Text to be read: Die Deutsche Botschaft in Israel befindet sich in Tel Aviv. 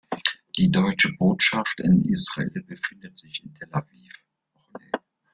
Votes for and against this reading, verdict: 2, 3, rejected